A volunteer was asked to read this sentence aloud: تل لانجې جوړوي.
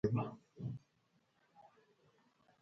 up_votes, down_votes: 1, 2